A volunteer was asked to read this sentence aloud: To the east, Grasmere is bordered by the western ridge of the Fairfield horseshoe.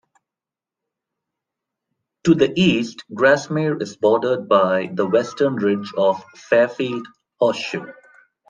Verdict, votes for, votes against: accepted, 2, 1